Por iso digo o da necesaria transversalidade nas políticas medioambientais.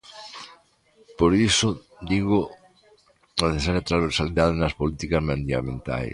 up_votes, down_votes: 0, 2